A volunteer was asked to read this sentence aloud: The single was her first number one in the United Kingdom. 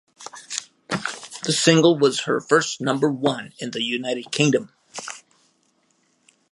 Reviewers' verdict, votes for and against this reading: accepted, 2, 0